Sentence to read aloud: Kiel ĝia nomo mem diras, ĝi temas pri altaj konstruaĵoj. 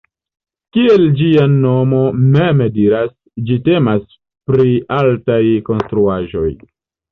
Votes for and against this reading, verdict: 2, 0, accepted